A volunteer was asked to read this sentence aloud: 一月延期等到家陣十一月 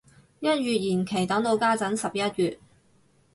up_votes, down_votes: 2, 0